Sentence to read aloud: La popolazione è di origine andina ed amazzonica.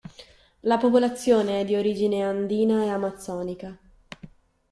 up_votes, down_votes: 0, 2